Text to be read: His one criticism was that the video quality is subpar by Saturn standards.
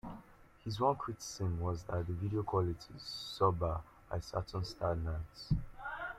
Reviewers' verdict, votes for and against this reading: rejected, 0, 2